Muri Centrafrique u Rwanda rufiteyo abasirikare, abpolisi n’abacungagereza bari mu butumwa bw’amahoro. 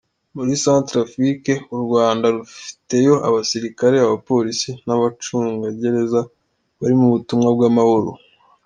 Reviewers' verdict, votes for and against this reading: accepted, 2, 0